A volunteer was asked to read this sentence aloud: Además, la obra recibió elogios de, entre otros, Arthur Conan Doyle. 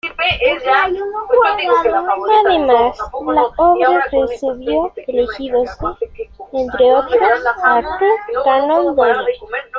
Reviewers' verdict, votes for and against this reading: rejected, 0, 2